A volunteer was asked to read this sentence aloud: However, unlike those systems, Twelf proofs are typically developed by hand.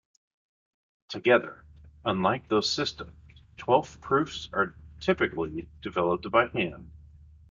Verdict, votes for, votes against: rejected, 1, 2